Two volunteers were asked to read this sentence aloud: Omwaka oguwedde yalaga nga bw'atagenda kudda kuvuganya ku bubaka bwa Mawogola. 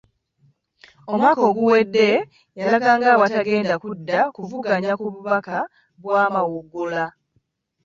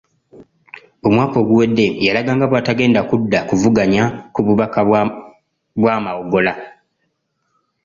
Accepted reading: first